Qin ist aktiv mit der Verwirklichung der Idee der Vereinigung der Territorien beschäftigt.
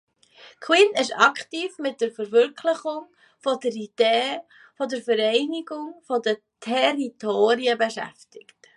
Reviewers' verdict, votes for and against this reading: rejected, 0, 2